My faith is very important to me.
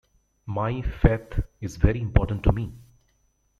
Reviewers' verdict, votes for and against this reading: rejected, 1, 2